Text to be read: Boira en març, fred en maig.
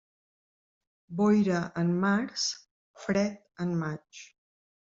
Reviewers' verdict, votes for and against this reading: accepted, 2, 0